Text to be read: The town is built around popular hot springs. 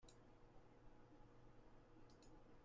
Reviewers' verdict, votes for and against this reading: rejected, 0, 2